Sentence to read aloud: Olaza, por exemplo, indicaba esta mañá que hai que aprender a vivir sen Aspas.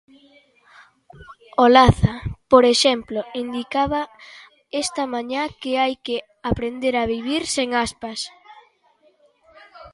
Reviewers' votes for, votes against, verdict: 2, 0, accepted